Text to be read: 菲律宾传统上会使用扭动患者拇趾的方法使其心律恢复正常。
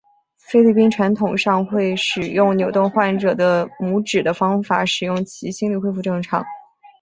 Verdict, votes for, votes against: rejected, 0, 2